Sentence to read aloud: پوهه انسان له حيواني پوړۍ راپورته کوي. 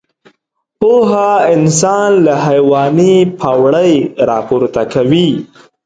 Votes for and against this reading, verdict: 1, 2, rejected